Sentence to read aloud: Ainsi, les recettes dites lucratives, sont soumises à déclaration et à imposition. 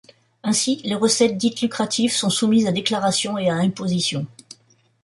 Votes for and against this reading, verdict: 2, 0, accepted